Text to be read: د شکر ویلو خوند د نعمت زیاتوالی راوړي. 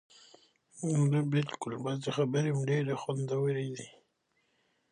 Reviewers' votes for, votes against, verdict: 0, 2, rejected